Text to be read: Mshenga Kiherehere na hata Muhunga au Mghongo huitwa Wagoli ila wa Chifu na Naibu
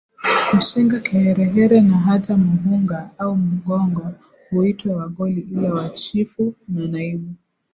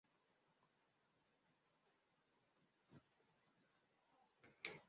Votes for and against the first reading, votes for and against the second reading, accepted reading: 3, 2, 0, 2, first